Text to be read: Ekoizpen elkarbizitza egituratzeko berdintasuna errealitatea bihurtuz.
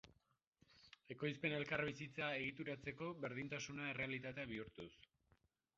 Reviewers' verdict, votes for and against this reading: rejected, 2, 4